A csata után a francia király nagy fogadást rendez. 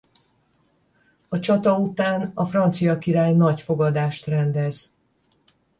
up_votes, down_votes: 10, 0